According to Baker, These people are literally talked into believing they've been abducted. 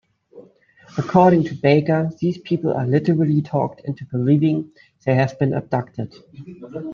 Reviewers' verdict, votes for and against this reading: rejected, 1, 2